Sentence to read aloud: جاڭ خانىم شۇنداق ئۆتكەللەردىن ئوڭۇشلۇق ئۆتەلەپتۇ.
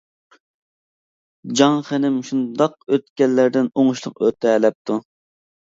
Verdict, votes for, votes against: rejected, 1, 2